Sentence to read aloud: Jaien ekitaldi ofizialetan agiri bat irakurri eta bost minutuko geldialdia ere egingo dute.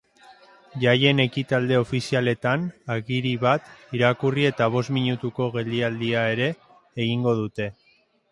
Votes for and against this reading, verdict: 2, 0, accepted